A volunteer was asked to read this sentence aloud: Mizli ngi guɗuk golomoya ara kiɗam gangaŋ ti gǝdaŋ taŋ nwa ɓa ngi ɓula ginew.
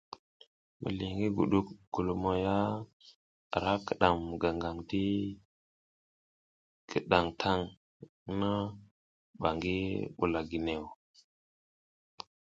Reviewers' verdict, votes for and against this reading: rejected, 1, 2